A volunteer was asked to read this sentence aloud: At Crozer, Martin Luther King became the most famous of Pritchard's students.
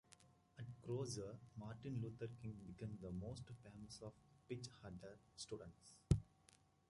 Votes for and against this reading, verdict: 0, 2, rejected